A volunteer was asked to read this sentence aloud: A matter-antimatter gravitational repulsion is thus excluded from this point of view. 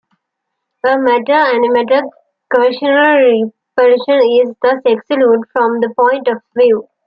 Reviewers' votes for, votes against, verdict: 1, 2, rejected